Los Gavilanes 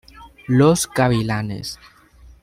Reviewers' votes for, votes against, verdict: 1, 2, rejected